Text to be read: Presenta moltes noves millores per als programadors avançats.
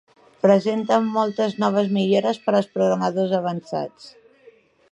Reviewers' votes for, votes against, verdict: 2, 1, accepted